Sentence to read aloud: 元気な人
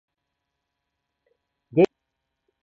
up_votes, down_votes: 0, 2